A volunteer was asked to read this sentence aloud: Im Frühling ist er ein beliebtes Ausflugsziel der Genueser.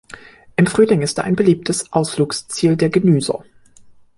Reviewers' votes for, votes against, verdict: 0, 2, rejected